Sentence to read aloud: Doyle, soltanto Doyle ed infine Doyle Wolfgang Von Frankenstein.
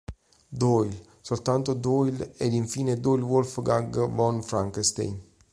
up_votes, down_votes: 1, 3